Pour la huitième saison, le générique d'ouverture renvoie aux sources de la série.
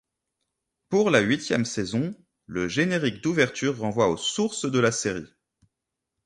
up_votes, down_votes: 3, 0